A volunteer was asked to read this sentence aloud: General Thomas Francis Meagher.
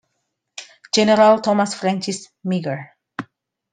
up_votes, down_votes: 2, 0